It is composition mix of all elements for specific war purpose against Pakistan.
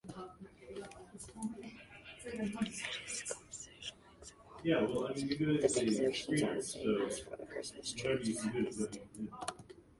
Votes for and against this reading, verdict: 0, 2, rejected